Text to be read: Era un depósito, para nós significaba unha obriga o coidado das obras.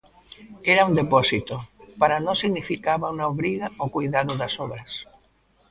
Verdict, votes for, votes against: rejected, 1, 2